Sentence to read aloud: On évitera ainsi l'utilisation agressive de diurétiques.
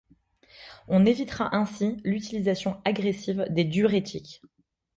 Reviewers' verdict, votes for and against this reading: rejected, 1, 2